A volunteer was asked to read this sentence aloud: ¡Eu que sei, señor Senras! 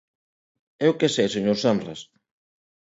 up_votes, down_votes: 2, 0